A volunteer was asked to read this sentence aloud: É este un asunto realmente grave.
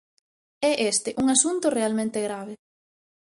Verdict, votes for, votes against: accepted, 2, 0